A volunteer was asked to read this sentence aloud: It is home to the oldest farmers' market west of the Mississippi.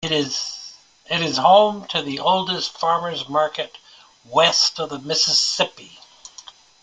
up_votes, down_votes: 0, 2